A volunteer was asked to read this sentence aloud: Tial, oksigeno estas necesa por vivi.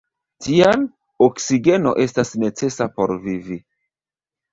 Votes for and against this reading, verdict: 1, 2, rejected